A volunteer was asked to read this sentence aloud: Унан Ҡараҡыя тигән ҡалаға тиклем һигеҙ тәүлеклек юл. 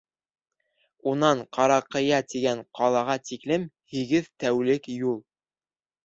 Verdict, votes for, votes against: rejected, 0, 2